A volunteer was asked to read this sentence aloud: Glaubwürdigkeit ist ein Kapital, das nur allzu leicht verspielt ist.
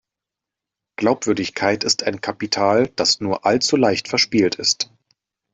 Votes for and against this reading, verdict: 2, 0, accepted